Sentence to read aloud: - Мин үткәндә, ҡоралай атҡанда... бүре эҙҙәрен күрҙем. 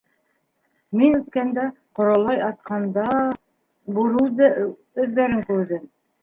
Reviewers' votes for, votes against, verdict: 1, 2, rejected